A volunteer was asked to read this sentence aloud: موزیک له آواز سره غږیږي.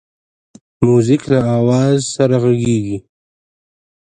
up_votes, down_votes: 0, 2